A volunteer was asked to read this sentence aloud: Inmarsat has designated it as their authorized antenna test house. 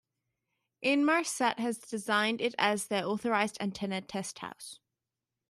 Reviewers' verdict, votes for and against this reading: rejected, 0, 2